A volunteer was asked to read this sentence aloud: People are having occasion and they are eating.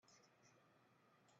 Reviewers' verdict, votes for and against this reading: rejected, 0, 2